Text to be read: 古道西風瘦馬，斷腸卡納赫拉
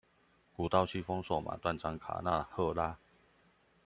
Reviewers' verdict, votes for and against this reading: accepted, 2, 0